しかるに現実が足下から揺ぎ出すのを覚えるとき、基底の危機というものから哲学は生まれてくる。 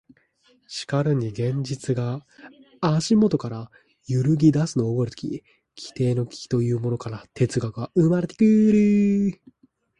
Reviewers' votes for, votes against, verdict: 2, 0, accepted